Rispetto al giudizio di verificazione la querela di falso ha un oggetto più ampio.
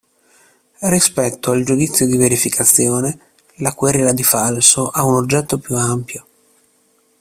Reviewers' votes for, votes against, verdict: 2, 1, accepted